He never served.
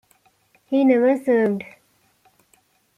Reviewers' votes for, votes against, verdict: 2, 0, accepted